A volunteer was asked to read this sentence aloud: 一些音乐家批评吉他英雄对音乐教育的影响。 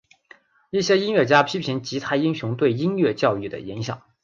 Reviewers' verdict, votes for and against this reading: accepted, 2, 1